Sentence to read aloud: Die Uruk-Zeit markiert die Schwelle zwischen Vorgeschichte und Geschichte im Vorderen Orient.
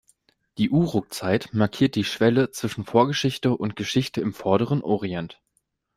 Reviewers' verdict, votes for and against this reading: accepted, 2, 0